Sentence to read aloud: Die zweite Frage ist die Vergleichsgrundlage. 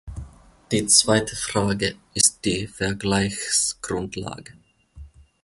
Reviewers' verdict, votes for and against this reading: rejected, 1, 2